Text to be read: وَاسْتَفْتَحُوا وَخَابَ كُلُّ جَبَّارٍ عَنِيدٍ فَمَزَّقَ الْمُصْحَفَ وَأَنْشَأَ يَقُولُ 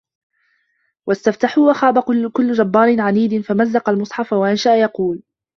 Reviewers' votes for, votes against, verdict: 1, 2, rejected